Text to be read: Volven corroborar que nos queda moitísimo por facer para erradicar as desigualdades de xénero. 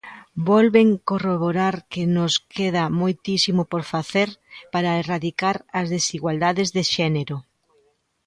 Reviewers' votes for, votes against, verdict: 2, 0, accepted